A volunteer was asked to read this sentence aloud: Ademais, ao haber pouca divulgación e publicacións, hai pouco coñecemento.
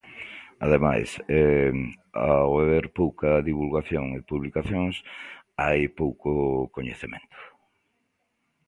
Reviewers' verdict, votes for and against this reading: rejected, 0, 2